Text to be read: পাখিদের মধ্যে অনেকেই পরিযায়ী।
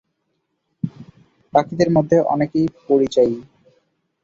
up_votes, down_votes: 5, 1